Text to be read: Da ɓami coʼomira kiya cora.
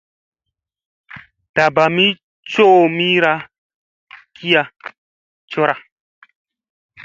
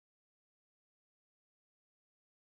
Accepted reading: first